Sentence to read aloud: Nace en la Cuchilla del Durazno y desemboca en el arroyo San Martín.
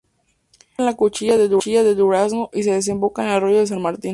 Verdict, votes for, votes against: rejected, 0, 6